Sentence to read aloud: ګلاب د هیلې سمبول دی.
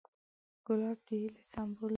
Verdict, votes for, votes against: rejected, 1, 2